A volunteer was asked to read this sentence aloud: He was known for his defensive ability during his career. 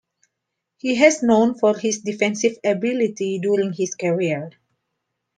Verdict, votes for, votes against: rejected, 0, 2